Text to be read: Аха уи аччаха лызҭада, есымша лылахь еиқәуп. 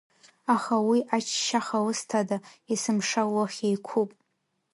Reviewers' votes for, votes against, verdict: 1, 2, rejected